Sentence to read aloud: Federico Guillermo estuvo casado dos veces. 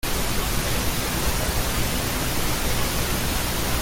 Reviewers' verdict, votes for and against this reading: rejected, 0, 2